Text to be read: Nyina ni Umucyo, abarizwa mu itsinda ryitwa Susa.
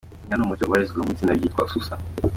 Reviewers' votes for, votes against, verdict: 1, 2, rejected